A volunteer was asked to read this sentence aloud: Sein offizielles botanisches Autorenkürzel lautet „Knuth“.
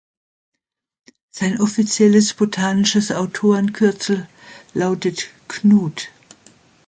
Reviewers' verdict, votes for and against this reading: accepted, 2, 0